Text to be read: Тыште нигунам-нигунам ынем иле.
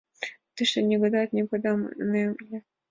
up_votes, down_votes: 0, 2